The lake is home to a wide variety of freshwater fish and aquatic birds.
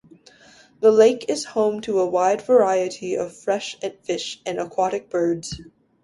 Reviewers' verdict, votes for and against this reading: rejected, 0, 2